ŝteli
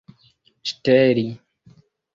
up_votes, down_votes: 1, 2